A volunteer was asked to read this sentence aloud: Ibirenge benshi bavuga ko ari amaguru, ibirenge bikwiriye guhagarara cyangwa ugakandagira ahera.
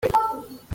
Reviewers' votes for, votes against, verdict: 0, 2, rejected